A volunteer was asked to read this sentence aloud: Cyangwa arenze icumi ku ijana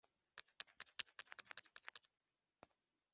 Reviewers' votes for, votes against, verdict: 0, 2, rejected